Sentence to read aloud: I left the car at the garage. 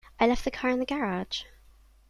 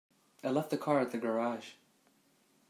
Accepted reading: second